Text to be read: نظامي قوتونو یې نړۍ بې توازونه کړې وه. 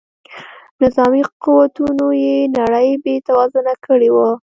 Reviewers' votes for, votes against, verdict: 2, 1, accepted